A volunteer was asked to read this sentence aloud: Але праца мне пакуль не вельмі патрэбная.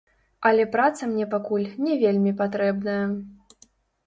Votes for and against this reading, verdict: 1, 2, rejected